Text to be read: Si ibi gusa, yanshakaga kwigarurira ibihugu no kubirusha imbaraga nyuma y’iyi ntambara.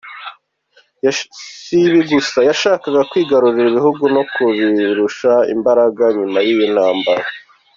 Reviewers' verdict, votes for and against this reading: rejected, 1, 2